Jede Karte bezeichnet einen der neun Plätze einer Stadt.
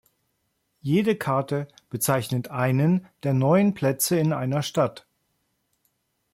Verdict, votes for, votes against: rejected, 0, 3